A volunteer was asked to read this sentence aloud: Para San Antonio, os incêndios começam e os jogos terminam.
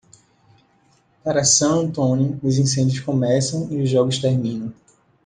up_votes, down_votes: 2, 0